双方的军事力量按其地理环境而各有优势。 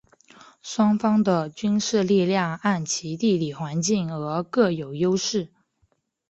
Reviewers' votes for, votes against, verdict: 2, 0, accepted